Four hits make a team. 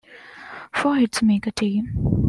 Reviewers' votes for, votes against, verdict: 2, 0, accepted